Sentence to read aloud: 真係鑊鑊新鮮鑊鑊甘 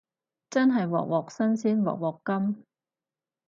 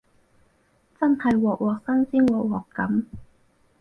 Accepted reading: first